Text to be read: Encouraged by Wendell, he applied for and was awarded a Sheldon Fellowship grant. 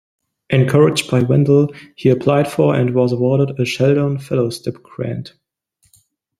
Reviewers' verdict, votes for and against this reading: rejected, 1, 2